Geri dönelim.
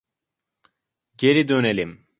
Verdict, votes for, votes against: accepted, 2, 0